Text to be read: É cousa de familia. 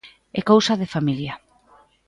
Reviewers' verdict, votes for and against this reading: accepted, 2, 0